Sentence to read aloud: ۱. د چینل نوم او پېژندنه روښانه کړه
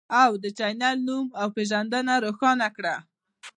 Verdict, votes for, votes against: rejected, 0, 2